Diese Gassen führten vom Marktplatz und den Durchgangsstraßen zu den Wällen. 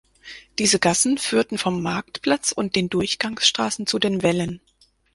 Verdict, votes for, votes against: accepted, 4, 0